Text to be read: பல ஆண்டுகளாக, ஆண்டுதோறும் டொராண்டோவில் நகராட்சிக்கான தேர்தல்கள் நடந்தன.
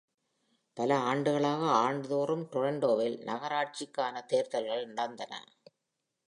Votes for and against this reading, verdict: 2, 0, accepted